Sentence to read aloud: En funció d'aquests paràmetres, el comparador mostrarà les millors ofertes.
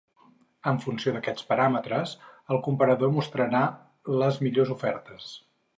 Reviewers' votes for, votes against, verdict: 4, 0, accepted